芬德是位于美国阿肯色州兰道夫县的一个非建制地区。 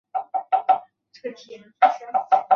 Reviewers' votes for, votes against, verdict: 0, 3, rejected